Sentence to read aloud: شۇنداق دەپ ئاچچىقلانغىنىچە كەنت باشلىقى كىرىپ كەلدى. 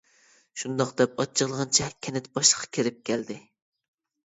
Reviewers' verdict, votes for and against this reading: rejected, 0, 2